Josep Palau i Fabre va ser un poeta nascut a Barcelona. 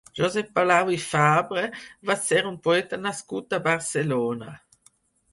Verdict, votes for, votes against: accepted, 4, 0